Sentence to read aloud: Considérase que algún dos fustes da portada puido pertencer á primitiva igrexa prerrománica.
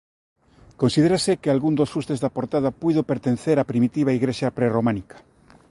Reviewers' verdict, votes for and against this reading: accepted, 2, 0